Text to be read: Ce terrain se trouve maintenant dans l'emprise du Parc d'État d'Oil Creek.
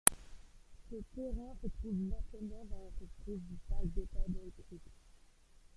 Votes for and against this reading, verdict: 0, 2, rejected